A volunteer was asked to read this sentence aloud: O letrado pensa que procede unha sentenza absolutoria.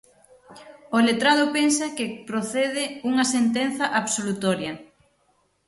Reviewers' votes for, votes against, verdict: 6, 0, accepted